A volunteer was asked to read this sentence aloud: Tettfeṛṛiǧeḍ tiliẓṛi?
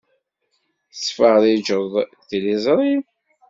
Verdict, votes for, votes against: accepted, 2, 0